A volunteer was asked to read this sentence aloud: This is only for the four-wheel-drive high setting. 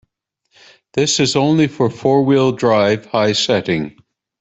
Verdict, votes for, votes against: rejected, 0, 2